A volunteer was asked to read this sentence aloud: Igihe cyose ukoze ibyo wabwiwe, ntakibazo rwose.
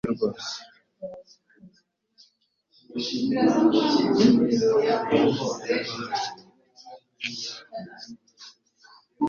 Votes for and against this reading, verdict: 2, 3, rejected